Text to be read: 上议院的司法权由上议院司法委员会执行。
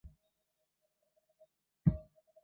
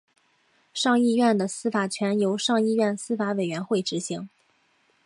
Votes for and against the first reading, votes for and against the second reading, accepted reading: 1, 2, 2, 0, second